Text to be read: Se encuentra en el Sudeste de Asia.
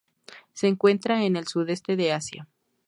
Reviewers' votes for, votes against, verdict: 2, 0, accepted